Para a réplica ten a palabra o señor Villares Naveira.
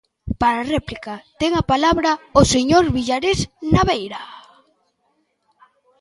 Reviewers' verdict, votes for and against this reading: accepted, 2, 1